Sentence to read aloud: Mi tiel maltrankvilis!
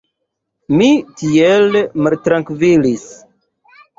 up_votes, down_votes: 2, 0